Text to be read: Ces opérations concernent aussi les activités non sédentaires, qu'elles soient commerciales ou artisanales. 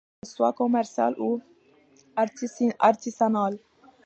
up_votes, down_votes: 0, 2